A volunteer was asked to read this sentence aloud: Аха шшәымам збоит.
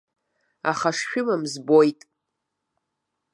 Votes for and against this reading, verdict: 2, 0, accepted